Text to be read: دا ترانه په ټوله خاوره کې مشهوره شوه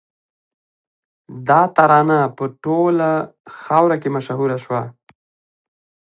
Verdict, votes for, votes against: rejected, 0, 2